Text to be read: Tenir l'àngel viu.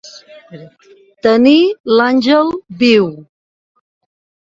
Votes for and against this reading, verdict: 2, 0, accepted